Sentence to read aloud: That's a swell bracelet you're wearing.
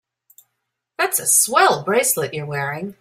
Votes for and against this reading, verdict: 2, 0, accepted